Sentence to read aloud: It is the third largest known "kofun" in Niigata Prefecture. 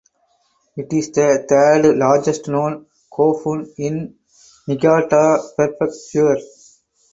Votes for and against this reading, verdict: 2, 0, accepted